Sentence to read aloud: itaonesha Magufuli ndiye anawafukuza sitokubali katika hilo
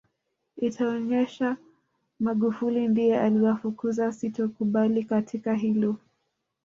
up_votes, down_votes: 1, 2